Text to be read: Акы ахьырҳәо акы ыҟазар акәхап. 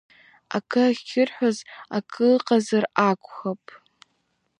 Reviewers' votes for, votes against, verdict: 0, 2, rejected